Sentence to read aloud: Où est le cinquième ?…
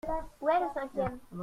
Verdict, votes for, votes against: rejected, 1, 2